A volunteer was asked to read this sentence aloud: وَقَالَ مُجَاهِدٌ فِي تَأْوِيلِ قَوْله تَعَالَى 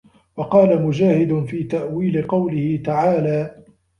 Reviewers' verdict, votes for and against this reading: accepted, 2, 0